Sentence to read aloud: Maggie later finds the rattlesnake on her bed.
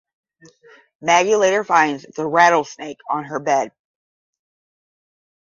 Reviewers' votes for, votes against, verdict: 5, 10, rejected